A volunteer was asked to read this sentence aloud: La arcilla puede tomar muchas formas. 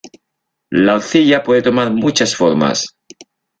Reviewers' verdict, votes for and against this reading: rejected, 1, 2